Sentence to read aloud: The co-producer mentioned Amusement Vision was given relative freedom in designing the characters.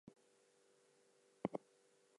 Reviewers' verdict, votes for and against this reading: rejected, 0, 4